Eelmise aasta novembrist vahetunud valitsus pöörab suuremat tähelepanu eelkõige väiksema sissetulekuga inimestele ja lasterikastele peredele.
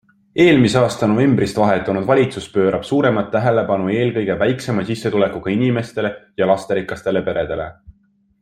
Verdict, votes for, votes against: accepted, 2, 0